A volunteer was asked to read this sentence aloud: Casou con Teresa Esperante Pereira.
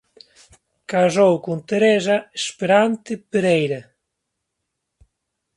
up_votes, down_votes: 2, 0